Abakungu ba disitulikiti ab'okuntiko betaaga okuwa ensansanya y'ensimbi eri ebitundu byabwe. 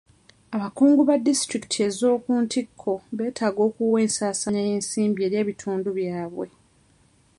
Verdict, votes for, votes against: rejected, 1, 2